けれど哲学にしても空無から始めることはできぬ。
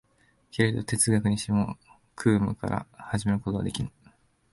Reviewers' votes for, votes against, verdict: 2, 1, accepted